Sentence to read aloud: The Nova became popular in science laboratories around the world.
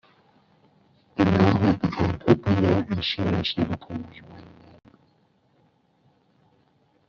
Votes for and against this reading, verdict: 1, 2, rejected